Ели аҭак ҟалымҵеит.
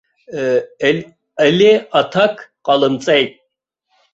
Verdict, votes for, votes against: rejected, 1, 2